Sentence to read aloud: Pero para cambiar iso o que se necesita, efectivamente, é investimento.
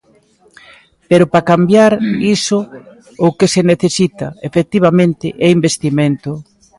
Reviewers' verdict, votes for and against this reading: accepted, 2, 1